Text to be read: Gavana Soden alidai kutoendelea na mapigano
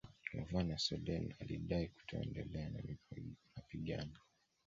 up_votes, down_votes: 0, 2